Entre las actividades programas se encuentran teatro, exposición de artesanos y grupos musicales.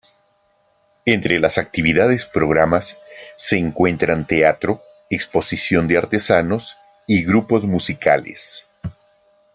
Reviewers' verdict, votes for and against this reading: accepted, 2, 0